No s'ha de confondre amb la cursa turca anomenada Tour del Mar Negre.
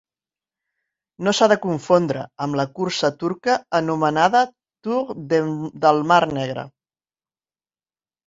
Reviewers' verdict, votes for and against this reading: rejected, 0, 3